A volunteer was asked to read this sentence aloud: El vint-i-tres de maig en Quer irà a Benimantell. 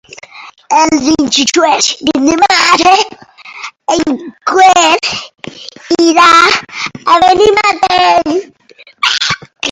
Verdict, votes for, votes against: rejected, 0, 2